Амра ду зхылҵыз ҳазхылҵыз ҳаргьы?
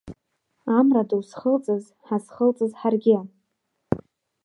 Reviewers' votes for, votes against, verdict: 2, 0, accepted